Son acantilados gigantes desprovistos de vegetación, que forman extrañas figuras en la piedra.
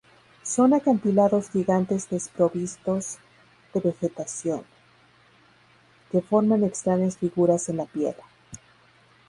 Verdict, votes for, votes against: accepted, 2, 0